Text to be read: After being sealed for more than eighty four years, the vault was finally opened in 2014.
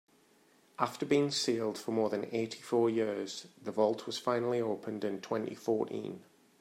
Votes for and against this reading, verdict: 0, 2, rejected